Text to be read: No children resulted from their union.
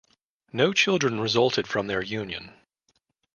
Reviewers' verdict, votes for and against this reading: accepted, 3, 0